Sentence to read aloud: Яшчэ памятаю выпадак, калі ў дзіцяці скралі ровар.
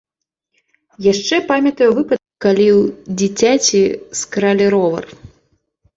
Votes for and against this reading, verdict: 1, 2, rejected